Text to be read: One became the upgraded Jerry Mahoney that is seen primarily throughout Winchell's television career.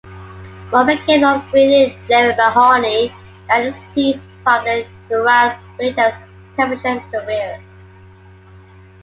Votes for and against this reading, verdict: 2, 0, accepted